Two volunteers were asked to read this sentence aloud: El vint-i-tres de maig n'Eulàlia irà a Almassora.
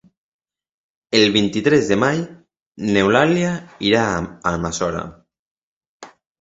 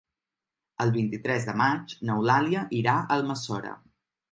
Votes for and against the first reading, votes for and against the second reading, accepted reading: 0, 2, 3, 0, second